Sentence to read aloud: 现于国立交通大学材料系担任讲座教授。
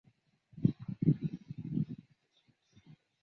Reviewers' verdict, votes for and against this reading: rejected, 0, 2